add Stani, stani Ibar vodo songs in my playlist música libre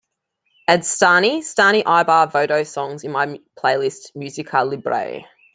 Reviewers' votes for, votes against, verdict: 2, 1, accepted